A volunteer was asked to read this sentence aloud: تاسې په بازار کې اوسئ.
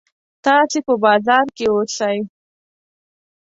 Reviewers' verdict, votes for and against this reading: accepted, 2, 0